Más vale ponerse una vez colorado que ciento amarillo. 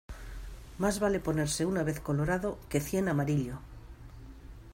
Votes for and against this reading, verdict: 1, 2, rejected